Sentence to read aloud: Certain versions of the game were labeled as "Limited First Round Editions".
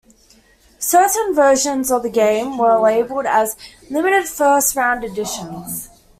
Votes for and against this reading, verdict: 2, 0, accepted